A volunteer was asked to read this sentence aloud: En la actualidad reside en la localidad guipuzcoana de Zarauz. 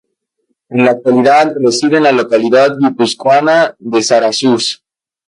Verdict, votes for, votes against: accepted, 2, 0